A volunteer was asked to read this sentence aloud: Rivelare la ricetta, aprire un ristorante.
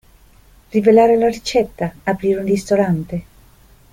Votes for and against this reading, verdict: 2, 0, accepted